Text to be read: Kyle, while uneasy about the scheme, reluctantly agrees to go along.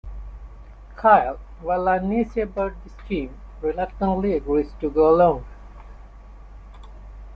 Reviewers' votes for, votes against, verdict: 2, 0, accepted